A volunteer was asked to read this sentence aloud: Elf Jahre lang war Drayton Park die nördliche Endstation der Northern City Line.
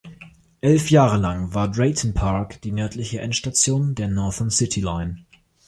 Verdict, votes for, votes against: accepted, 2, 0